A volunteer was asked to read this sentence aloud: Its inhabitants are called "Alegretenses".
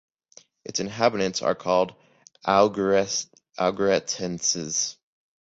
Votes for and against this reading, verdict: 0, 2, rejected